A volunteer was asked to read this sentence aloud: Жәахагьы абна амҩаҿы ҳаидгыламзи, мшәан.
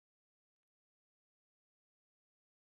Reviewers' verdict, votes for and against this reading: rejected, 0, 2